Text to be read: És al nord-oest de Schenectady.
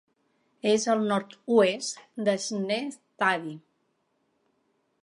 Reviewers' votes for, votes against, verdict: 0, 2, rejected